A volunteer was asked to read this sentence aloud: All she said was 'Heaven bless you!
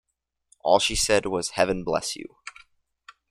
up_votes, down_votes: 2, 0